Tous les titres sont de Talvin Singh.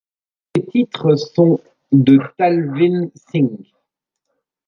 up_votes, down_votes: 0, 3